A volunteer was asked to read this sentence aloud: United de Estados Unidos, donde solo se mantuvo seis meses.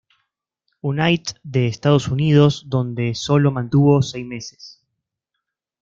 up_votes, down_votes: 0, 2